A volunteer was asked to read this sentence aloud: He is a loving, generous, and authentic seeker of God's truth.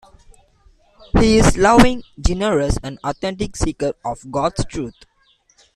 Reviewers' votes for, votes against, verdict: 2, 0, accepted